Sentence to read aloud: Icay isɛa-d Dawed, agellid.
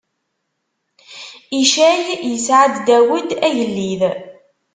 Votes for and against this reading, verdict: 2, 0, accepted